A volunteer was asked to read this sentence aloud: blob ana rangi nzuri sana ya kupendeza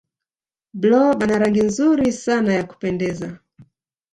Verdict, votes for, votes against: rejected, 1, 2